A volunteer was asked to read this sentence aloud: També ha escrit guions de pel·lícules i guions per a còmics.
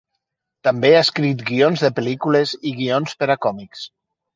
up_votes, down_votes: 3, 0